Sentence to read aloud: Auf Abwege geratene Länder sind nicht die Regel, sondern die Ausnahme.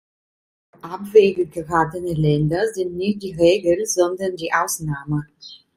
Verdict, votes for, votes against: rejected, 0, 2